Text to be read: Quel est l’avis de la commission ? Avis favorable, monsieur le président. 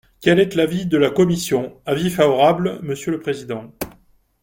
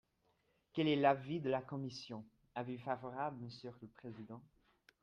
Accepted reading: second